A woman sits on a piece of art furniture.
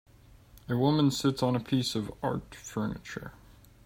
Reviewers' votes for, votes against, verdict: 2, 0, accepted